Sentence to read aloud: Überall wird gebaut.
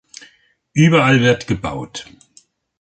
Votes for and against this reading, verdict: 2, 0, accepted